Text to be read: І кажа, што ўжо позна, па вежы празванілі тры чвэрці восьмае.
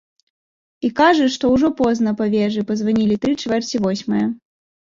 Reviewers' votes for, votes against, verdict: 2, 0, accepted